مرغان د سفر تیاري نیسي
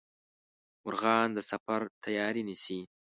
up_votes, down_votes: 2, 0